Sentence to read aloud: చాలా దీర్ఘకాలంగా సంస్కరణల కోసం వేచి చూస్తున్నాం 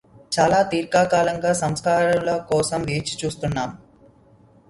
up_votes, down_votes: 1, 2